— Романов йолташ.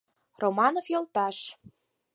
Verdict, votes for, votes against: accepted, 4, 0